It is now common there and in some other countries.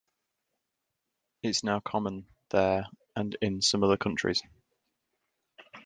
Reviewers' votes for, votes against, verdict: 1, 2, rejected